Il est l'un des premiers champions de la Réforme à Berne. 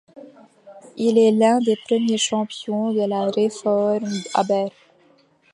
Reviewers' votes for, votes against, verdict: 2, 1, accepted